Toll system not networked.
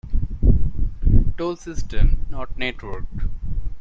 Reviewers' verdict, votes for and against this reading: rejected, 1, 2